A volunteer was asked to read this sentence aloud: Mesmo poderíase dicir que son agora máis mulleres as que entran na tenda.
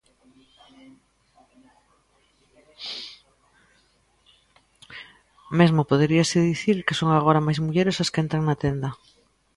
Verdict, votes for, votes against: accepted, 2, 0